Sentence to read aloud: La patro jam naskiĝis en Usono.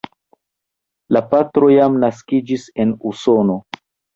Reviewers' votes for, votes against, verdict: 1, 2, rejected